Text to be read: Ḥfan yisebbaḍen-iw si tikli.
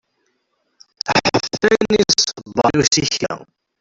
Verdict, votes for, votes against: rejected, 0, 2